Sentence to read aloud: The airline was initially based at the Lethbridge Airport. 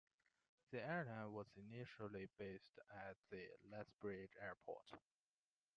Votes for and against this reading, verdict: 1, 2, rejected